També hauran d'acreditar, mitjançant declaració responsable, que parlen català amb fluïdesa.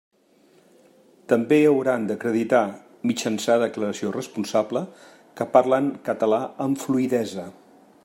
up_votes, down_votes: 1, 2